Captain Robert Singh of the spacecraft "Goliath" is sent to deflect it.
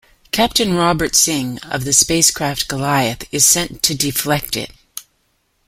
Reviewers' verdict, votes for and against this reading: accepted, 2, 0